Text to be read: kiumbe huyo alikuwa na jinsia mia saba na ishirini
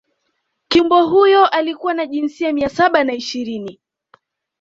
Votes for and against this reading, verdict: 2, 0, accepted